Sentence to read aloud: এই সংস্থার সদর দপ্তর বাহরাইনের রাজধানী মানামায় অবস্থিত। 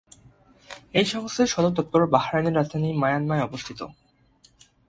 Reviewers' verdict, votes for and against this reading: rejected, 5, 6